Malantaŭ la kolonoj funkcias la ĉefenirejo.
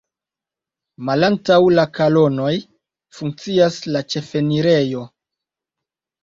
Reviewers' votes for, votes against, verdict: 1, 2, rejected